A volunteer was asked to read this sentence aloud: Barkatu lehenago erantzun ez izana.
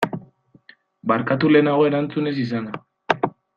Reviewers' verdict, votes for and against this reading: accepted, 2, 0